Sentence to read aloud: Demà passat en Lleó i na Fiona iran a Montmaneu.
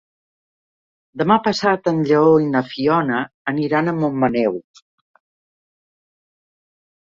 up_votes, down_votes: 0, 2